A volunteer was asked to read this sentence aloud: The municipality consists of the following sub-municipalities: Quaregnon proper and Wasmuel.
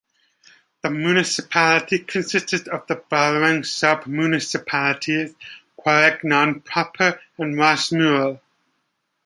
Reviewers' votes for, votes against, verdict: 2, 1, accepted